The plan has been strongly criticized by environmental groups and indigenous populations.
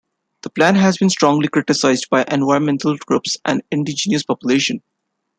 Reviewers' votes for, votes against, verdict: 2, 0, accepted